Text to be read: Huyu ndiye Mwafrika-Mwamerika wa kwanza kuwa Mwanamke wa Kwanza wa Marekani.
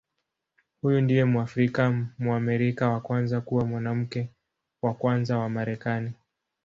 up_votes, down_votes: 2, 0